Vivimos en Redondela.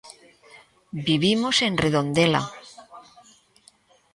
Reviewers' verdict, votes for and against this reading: rejected, 1, 2